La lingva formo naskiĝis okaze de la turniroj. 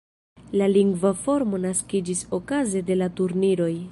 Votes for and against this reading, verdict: 3, 0, accepted